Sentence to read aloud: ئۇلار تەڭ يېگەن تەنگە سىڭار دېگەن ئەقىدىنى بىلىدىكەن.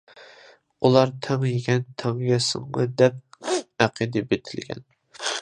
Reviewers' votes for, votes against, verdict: 0, 2, rejected